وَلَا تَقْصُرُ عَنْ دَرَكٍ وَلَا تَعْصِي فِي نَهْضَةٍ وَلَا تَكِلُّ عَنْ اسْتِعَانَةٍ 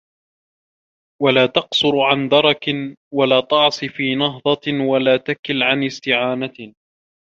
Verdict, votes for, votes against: rejected, 1, 2